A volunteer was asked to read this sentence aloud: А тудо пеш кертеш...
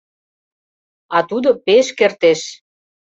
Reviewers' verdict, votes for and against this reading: accepted, 2, 0